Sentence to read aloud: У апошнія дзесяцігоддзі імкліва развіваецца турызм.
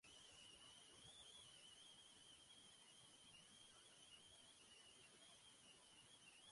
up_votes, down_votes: 0, 2